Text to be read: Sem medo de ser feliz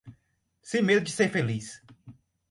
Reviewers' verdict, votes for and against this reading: rejected, 2, 2